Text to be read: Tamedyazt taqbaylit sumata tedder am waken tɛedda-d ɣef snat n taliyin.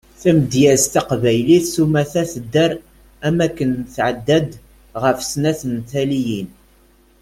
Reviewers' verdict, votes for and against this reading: rejected, 1, 2